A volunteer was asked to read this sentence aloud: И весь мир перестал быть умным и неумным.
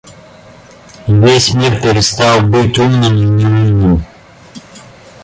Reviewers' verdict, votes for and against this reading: rejected, 0, 2